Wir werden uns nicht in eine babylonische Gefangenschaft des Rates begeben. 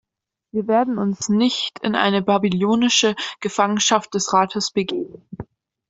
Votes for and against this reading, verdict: 1, 2, rejected